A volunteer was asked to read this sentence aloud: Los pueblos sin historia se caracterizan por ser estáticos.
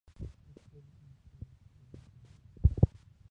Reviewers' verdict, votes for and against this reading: rejected, 0, 4